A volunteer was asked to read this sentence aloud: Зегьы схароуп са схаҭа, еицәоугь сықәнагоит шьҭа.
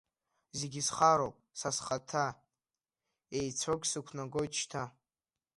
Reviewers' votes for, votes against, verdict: 1, 2, rejected